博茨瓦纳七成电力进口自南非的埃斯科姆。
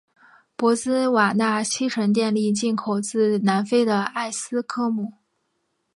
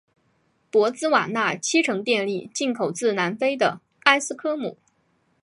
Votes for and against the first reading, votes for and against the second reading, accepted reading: 0, 2, 4, 1, second